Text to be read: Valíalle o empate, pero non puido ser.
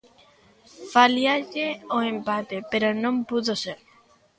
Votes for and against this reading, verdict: 0, 2, rejected